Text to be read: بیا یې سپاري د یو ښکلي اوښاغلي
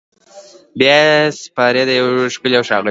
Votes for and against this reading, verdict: 1, 2, rejected